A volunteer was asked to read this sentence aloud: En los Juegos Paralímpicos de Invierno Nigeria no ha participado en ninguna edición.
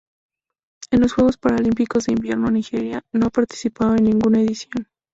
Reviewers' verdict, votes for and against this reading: rejected, 0, 2